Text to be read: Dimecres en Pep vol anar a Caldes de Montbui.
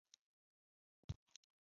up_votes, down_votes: 0, 2